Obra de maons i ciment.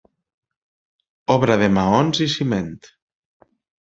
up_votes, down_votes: 2, 0